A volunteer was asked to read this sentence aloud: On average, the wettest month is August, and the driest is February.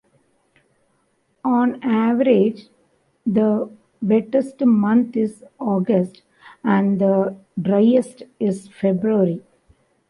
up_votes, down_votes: 1, 2